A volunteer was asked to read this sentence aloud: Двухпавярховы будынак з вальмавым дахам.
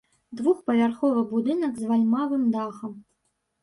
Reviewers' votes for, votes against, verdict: 1, 2, rejected